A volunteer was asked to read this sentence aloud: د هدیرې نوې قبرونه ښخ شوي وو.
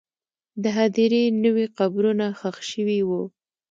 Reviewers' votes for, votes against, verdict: 0, 2, rejected